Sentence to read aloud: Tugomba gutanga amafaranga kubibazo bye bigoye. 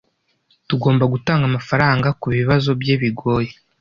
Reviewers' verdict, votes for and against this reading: accepted, 2, 0